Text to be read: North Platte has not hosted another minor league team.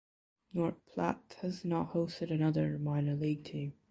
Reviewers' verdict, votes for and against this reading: accepted, 2, 1